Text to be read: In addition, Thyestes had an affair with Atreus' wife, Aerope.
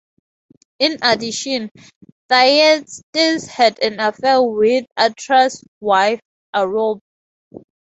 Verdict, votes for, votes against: rejected, 2, 2